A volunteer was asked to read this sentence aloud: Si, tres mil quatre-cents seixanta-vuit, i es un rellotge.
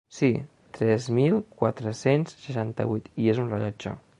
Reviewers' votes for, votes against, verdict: 3, 0, accepted